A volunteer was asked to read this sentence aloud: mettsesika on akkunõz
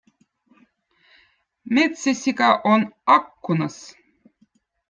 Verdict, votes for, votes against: accepted, 2, 0